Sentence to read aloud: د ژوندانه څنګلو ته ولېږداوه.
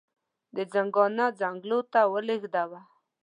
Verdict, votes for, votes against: accepted, 2, 1